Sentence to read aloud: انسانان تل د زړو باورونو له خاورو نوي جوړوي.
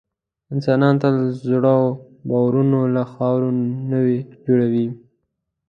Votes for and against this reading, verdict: 1, 2, rejected